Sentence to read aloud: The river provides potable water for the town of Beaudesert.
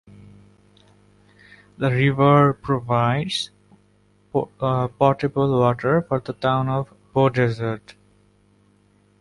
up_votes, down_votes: 0, 2